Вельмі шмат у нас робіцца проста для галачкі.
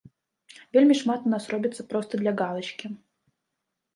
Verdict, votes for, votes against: rejected, 0, 2